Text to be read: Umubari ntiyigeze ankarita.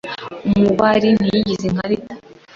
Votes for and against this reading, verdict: 2, 1, accepted